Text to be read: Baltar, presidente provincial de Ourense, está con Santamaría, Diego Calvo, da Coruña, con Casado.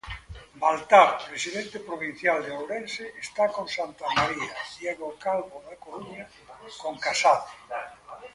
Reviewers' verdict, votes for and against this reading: rejected, 1, 2